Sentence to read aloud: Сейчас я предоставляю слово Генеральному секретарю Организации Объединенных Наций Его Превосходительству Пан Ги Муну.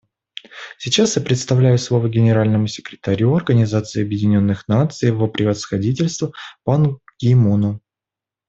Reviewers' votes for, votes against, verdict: 0, 2, rejected